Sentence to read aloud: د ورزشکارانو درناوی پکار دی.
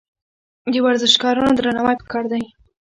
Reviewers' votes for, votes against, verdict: 2, 1, accepted